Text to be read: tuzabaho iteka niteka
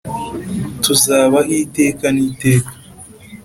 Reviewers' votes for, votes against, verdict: 3, 0, accepted